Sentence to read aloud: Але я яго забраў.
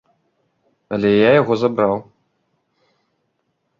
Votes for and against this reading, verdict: 2, 1, accepted